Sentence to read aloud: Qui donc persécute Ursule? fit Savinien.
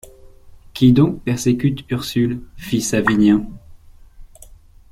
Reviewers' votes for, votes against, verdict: 2, 0, accepted